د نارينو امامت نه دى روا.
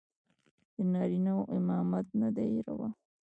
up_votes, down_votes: 1, 2